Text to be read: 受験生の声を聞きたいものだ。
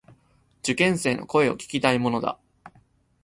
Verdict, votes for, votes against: accepted, 3, 0